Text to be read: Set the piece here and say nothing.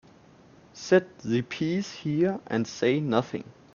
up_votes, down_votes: 2, 1